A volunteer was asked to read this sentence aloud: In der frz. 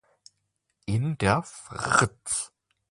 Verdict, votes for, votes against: rejected, 1, 2